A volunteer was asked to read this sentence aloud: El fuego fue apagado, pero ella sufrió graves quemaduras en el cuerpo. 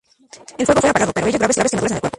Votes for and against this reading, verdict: 0, 2, rejected